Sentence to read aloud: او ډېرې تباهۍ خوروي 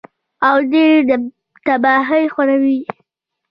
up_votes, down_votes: 1, 2